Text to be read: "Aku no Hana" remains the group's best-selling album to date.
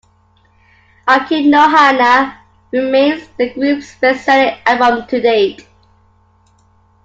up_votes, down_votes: 2, 0